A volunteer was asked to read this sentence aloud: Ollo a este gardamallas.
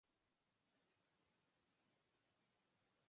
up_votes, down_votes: 0, 2